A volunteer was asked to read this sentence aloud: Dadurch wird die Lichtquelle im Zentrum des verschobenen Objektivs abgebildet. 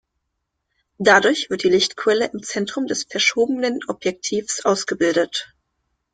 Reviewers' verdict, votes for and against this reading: rejected, 1, 2